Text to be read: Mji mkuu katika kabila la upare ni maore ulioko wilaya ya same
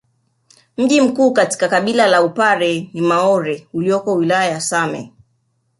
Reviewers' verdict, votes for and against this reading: accepted, 2, 0